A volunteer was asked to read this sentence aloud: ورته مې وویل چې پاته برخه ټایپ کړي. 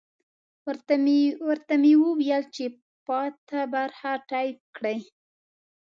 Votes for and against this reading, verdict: 2, 0, accepted